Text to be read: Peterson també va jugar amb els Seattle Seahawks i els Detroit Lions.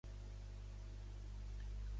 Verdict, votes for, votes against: rejected, 0, 2